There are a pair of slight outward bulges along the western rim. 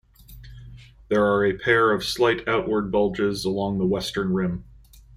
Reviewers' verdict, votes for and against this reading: accepted, 2, 0